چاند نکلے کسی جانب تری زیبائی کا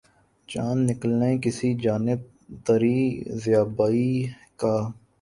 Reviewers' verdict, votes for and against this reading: rejected, 1, 2